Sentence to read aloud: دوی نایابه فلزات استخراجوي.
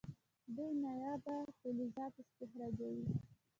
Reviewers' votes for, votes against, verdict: 0, 2, rejected